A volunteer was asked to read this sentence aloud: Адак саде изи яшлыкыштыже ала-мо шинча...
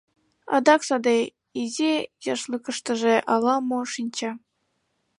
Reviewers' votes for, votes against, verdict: 1, 3, rejected